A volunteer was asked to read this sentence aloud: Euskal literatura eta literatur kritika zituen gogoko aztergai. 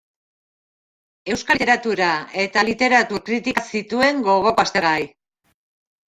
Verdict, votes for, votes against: rejected, 0, 2